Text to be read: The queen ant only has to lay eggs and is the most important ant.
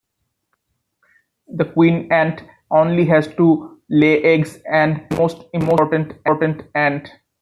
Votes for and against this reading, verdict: 0, 2, rejected